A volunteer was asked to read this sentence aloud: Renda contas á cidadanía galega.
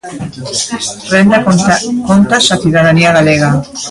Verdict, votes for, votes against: rejected, 0, 2